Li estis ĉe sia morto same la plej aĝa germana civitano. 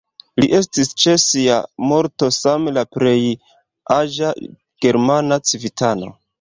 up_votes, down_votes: 2, 0